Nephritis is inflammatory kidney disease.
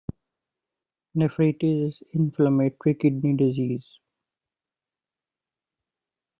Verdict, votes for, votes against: rejected, 0, 2